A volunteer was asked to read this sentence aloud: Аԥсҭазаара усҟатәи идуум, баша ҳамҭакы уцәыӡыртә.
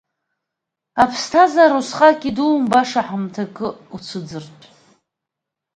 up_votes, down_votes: 2, 1